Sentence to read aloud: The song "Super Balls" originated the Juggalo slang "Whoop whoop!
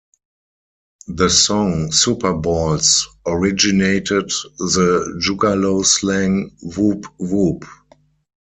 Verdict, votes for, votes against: rejected, 2, 4